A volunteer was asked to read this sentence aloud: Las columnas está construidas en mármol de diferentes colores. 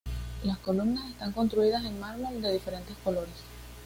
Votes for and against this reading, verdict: 2, 0, accepted